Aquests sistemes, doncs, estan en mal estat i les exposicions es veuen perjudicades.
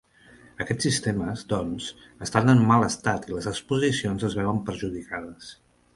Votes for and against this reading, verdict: 3, 0, accepted